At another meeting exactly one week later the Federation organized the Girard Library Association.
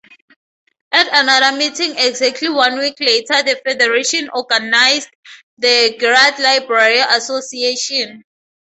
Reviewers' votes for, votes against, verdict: 2, 0, accepted